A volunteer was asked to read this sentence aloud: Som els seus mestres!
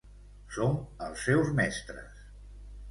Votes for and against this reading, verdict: 2, 0, accepted